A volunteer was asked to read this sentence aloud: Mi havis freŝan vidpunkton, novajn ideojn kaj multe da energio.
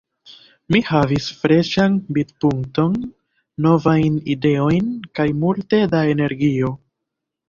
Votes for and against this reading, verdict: 0, 2, rejected